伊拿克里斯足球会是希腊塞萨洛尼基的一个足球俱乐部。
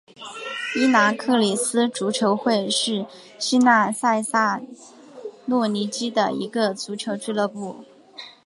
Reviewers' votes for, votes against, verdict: 0, 2, rejected